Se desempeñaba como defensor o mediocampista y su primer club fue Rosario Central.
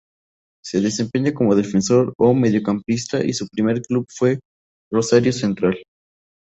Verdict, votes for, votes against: rejected, 0, 2